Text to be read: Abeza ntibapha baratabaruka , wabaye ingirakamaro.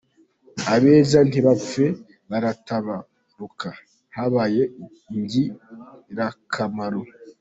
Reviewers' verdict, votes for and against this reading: rejected, 0, 3